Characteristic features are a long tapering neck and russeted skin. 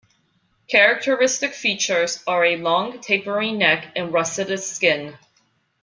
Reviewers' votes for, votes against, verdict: 1, 2, rejected